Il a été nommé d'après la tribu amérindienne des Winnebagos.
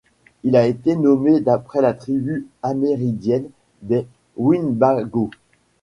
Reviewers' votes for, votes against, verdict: 0, 2, rejected